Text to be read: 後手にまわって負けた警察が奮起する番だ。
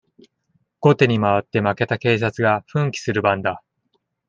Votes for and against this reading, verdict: 2, 0, accepted